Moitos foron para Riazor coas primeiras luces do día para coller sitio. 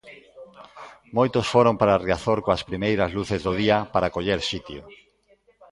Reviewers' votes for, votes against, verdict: 1, 2, rejected